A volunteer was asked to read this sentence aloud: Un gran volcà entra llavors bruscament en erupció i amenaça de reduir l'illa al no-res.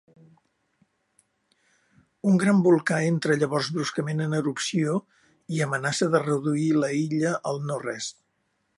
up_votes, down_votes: 1, 2